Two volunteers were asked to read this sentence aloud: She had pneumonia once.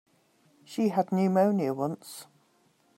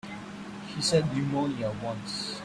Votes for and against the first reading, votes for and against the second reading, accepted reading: 2, 0, 2, 3, first